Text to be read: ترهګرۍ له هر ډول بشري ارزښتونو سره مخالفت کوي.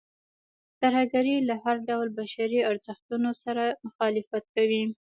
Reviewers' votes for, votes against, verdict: 2, 0, accepted